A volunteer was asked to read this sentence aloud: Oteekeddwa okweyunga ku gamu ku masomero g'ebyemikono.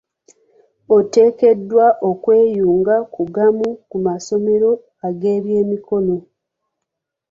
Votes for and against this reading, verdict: 1, 2, rejected